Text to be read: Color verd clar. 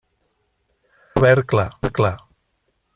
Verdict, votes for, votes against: rejected, 0, 2